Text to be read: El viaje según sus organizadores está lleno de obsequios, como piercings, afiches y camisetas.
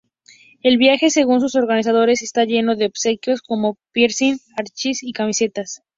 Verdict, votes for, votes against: rejected, 2, 2